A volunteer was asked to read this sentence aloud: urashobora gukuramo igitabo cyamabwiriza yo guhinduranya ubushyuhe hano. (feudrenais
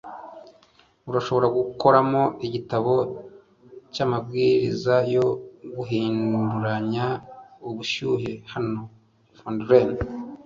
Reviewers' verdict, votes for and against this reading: accepted, 2, 0